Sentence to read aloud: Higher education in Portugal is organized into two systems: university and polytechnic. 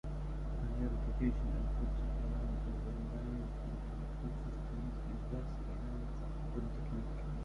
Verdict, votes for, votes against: rejected, 0, 2